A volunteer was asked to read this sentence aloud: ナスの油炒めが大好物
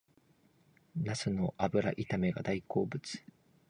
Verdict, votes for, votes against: accepted, 2, 0